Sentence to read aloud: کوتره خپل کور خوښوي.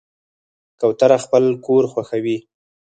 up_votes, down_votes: 0, 4